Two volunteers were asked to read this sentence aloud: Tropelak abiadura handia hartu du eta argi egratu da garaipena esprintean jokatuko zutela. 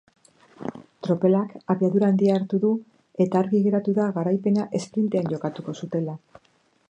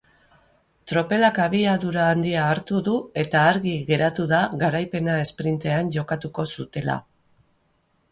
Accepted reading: second